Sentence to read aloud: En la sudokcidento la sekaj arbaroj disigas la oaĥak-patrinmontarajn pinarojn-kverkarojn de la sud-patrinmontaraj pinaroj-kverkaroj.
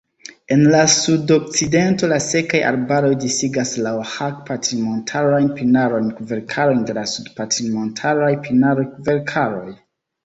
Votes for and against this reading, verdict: 2, 1, accepted